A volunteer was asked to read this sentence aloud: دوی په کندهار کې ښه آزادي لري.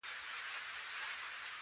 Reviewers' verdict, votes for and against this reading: rejected, 1, 2